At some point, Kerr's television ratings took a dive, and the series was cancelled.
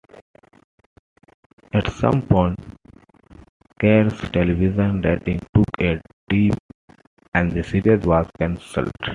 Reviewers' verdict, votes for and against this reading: rejected, 1, 2